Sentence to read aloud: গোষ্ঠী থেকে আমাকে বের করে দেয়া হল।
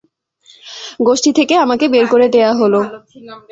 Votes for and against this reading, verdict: 2, 0, accepted